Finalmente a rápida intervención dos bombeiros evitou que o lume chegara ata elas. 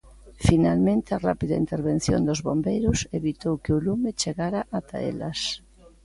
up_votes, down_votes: 2, 0